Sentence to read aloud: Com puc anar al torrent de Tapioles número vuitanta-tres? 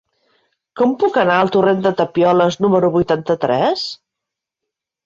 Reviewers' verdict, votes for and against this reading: accepted, 3, 0